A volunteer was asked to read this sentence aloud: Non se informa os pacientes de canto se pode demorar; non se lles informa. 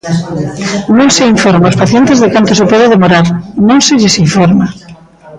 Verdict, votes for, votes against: accepted, 2, 0